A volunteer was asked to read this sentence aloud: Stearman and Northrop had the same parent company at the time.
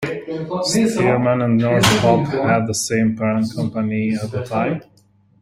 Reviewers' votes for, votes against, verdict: 2, 0, accepted